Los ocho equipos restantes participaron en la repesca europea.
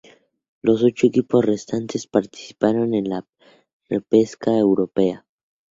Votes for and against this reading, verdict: 2, 0, accepted